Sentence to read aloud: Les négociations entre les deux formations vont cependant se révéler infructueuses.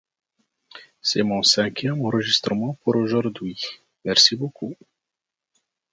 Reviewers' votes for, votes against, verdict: 1, 2, rejected